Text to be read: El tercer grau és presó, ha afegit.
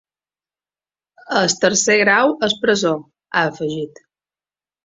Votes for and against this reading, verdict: 0, 2, rejected